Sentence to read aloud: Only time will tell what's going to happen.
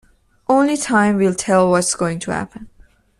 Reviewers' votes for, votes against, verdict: 2, 0, accepted